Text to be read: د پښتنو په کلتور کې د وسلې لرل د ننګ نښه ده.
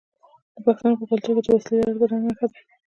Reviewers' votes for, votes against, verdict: 2, 0, accepted